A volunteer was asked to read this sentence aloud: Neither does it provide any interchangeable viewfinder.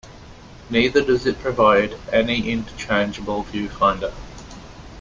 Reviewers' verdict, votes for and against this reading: rejected, 0, 2